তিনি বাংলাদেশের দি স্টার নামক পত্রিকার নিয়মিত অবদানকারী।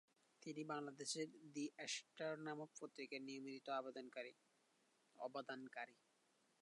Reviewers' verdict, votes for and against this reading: rejected, 0, 2